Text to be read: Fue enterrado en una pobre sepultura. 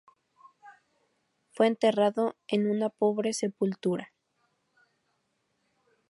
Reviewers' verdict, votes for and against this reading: accepted, 2, 0